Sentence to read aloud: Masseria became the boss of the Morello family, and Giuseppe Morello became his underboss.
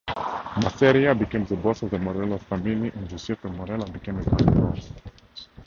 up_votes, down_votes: 0, 2